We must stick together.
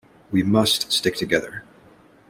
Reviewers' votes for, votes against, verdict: 2, 0, accepted